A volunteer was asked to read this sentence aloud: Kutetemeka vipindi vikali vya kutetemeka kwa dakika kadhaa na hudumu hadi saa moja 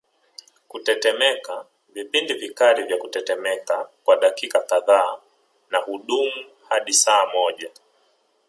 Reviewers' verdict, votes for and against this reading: accepted, 2, 0